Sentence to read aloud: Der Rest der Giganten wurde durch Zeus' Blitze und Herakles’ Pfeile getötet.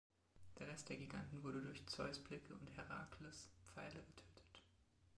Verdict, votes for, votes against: rejected, 0, 2